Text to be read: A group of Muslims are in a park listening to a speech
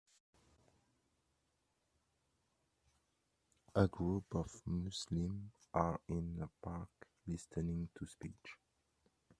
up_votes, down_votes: 1, 2